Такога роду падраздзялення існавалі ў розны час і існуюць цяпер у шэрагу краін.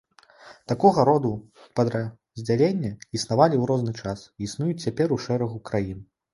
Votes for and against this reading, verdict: 0, 2, rejected